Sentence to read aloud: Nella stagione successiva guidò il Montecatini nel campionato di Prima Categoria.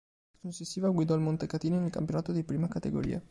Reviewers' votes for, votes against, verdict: 0, 2, rejected